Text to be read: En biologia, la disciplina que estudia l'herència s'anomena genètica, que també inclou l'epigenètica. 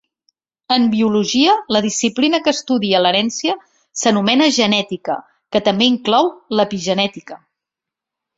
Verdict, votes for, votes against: accepted, 2, 0